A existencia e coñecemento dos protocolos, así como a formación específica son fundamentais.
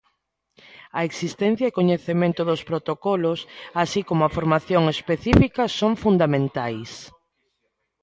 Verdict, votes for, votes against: accepted, 2, 0